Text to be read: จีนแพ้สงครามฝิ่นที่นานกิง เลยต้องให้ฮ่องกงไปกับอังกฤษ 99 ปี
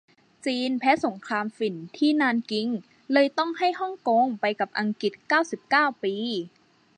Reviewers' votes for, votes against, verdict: 0, 2, rejected